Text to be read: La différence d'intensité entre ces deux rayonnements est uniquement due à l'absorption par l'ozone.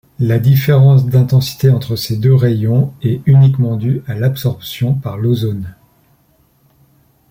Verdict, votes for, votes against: rejected, 0, 2